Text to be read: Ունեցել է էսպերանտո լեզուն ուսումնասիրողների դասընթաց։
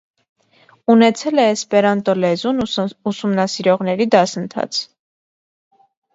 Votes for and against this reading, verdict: 0, 2, rejected